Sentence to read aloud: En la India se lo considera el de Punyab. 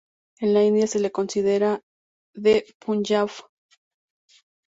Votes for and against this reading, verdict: 0, 2, rejected